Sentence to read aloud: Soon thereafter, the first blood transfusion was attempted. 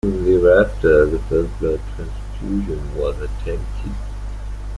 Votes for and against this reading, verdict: 1, 2, rejected